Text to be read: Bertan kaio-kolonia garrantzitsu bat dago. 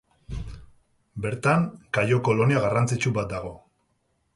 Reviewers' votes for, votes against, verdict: 2, 0, accepted